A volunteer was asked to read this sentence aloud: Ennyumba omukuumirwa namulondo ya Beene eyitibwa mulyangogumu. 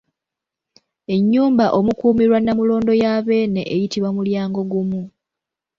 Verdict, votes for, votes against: accepted, 2, 1